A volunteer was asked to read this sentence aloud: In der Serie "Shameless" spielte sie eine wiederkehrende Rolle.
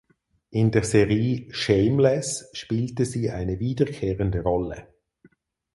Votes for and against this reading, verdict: 2, 4, rejected